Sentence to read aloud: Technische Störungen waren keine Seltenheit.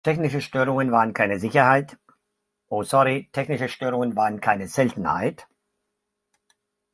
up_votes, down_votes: 0, 2